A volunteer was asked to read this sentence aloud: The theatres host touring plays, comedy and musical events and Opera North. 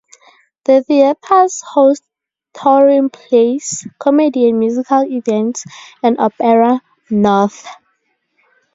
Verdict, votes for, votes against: accepted, 2, 0